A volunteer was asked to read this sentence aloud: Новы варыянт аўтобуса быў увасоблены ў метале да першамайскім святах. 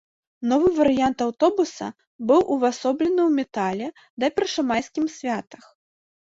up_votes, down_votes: 2, 0